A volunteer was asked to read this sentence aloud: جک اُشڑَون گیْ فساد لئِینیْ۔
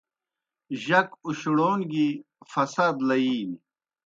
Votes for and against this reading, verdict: 2, 0, accepted